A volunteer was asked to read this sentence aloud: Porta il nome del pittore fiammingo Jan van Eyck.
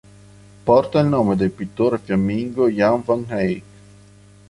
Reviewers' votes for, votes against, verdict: 2, 0, accepted